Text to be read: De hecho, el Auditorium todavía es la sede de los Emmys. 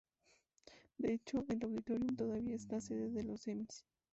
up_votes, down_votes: 0, 2